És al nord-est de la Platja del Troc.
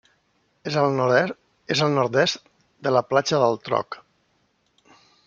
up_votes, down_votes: 0, 2